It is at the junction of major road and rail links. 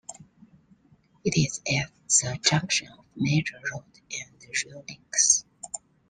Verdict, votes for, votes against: rejected, 1, 2